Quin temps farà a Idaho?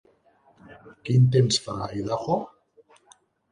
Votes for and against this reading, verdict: 2, 4, rejected